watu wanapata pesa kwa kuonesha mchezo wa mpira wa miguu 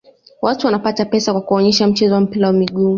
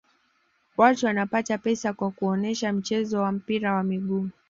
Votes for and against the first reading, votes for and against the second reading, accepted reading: 0, 2, 2, 0, second